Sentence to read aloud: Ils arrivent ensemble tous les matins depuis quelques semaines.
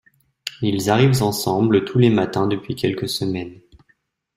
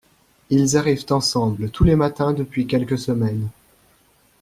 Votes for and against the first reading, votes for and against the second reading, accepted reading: 0, 2, 2, 0, second